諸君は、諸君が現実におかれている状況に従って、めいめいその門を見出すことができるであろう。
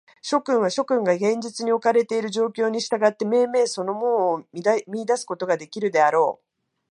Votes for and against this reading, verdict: 0, 3, rejected